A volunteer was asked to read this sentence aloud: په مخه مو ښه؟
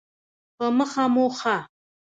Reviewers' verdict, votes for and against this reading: rejected, 0, 2